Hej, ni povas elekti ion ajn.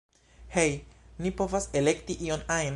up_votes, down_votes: 1, 2